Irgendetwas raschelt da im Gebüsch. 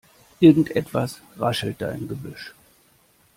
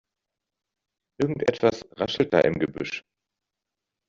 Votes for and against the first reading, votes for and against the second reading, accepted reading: 2, 0, 1, 2, first